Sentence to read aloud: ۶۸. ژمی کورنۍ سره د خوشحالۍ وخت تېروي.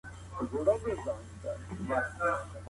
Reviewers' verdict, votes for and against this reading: rejected, 0, 2